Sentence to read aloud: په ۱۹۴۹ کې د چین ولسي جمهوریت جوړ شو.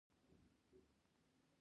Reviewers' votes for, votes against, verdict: 0, 2, rejected